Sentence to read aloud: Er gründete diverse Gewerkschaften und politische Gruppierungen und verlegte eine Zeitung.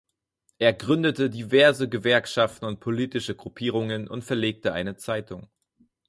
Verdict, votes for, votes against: accepted, 6, 0